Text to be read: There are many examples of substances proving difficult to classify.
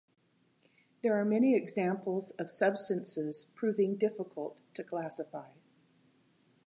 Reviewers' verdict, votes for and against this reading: accepted, 2, 0